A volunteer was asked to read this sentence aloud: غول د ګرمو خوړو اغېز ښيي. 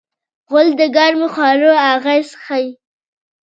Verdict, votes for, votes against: accepted, 2, 1